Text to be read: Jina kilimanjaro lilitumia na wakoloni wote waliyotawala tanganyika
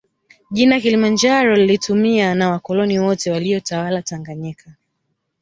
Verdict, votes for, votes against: accepted, 2, 0